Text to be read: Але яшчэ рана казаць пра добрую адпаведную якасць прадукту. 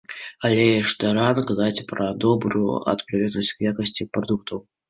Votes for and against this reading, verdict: 0, 2, rejected